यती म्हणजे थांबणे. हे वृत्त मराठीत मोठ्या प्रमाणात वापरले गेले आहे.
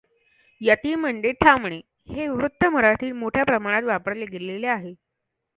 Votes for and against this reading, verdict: 2, 0, accepted